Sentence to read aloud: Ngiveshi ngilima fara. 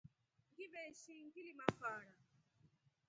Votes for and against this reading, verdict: 1, 2, rejected